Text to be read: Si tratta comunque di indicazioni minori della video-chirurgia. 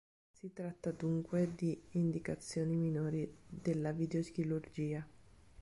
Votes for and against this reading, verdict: 1, 2, rejected